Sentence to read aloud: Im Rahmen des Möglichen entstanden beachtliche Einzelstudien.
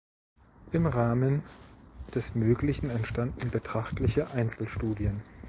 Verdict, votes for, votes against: rejected, 0, 2